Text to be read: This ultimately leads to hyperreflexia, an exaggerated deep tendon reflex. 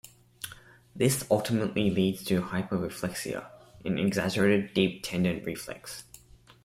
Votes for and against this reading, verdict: 2, 0, accepted